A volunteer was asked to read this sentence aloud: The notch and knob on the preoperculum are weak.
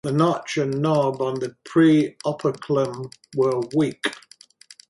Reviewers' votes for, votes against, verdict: 4, 2, accepted